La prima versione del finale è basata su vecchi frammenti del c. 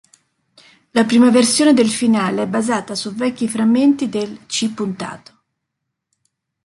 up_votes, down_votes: 1, 2